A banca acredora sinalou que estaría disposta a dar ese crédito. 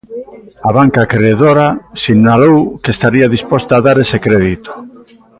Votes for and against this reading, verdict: 2, 0, accepted